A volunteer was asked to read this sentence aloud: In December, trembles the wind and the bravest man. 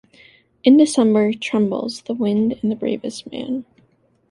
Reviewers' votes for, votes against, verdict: 2, 0, accepted